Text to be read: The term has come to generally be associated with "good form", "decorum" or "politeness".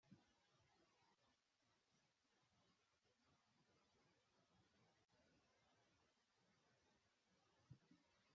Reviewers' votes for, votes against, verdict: 0, 2, rejected